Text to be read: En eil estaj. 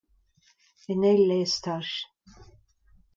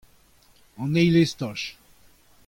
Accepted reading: first